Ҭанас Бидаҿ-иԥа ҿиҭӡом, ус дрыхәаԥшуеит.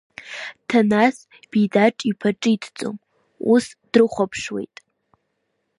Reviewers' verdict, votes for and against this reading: accepted, 4, 0